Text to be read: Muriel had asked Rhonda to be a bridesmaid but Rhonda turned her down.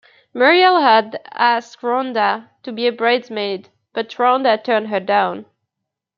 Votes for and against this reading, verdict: 0, 2, rejected